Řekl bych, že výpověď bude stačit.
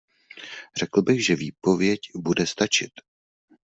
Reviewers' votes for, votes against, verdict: 2, 0, accepted